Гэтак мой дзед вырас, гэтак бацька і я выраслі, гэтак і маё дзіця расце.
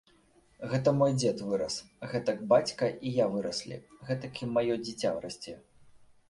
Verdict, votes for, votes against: rejected, 1, 2